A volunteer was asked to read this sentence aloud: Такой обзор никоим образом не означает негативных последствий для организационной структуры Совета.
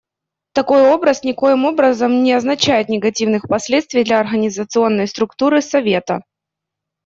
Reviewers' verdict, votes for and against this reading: rejected, 0, 2